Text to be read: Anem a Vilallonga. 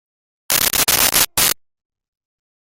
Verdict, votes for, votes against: rejected, 0, 2